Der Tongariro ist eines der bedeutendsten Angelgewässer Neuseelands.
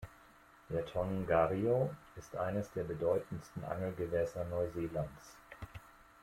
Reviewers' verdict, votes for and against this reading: accepted, 2, 0